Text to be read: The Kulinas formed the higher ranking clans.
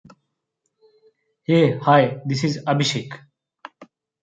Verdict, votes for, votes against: rejected, 0, 2